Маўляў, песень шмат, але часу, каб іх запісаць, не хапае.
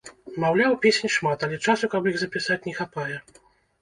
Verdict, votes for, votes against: accepted, 2, 0